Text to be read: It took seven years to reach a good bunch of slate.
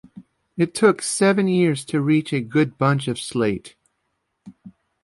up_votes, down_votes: 2, 1